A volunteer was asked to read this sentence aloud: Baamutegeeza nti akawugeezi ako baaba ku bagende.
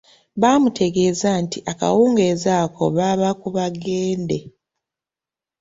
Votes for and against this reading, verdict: 2, 0, accepted